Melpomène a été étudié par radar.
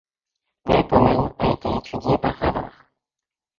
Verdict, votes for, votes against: rejected, 1, 2